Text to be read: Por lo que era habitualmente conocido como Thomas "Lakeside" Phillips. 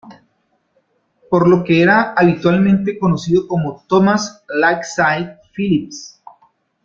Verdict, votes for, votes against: rejected, 0, 2